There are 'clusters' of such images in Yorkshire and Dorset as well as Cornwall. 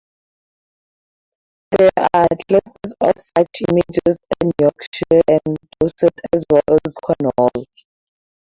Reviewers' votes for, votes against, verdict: 4, 0, accepted